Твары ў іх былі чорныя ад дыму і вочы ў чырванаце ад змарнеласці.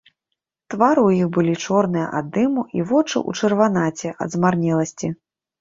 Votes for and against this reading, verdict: 0, 2, rejected